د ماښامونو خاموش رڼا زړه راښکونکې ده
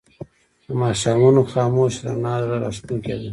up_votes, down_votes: 0, 2